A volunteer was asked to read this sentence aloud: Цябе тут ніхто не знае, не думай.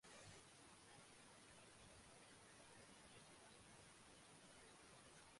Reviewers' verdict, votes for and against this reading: rejected, 0, 2